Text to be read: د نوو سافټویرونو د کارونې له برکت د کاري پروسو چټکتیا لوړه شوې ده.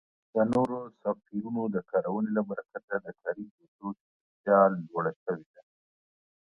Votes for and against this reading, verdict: 0, 2, rejected